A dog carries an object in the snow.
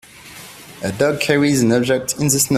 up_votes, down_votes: 2, 0